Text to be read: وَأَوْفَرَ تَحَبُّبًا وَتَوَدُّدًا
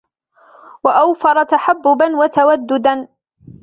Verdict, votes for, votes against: accepted, 2, 1